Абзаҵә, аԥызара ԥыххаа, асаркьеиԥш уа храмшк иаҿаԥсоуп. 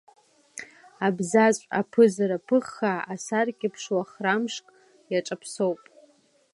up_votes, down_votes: 2, 0